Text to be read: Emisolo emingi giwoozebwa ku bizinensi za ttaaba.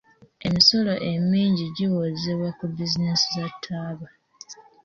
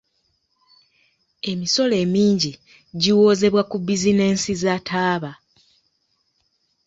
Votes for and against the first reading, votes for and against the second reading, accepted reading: 2, 0, 1, 2, first